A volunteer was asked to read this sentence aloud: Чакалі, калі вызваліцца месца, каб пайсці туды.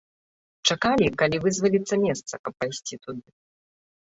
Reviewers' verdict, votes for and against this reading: rejected, 0, 2